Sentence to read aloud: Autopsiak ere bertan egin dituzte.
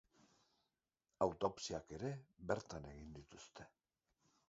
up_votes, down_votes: 2, 3